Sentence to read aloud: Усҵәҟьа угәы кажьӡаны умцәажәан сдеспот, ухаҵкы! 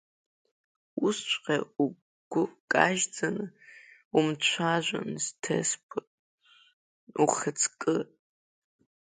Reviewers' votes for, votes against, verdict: 1, 2, rejected